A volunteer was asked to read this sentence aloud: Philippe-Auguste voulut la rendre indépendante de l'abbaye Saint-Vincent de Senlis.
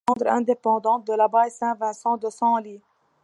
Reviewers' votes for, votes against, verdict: 0, 2, rejected